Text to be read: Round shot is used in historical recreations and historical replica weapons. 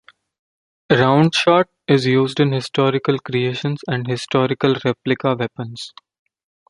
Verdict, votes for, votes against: rejected, 0, 2